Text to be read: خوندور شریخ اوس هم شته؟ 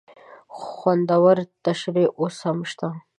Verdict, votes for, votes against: accepted, 2, 0